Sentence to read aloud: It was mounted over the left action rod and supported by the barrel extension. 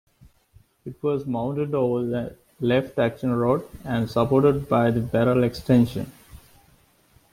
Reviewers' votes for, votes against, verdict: 2, 0, accepted